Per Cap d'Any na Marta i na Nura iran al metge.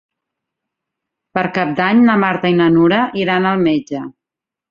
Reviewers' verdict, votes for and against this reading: rejected, 0, 2